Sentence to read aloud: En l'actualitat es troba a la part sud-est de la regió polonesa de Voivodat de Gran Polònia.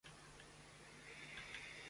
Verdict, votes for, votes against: rejected, 0, 2